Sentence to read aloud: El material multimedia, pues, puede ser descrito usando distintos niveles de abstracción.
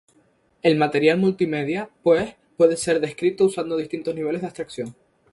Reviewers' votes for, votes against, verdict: 4, 0, accepted